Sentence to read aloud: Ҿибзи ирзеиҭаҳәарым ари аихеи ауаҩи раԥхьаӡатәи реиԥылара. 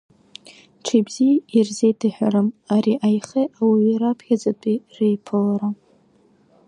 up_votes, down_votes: 2, 0